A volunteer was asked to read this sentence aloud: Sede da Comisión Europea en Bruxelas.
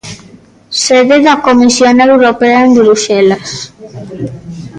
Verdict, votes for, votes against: rejected, 0, 2